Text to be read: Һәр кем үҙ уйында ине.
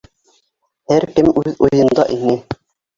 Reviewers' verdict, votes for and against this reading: accepted, 3, 1